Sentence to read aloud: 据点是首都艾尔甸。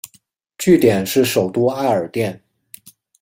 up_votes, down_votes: 2, 0